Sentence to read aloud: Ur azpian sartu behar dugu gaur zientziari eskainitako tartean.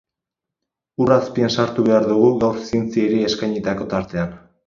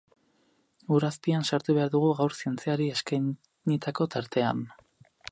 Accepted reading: first